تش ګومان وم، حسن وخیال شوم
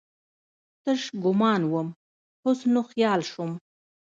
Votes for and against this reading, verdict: 1, 2, rejected